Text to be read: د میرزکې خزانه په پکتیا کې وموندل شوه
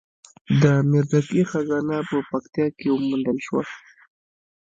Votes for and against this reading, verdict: 0, 2, rejected